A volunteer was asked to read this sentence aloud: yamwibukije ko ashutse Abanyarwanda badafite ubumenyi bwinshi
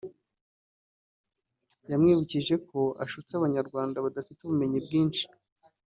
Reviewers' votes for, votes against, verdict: 2, 0, accepted